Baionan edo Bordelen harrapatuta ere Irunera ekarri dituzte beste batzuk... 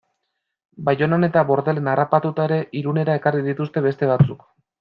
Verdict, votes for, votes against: rejected, 0, 2